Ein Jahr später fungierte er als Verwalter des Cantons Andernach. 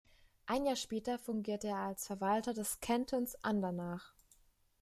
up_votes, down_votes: 0, 2